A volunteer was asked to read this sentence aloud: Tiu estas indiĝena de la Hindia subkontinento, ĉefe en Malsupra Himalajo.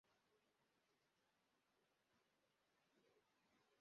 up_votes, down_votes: 0, 2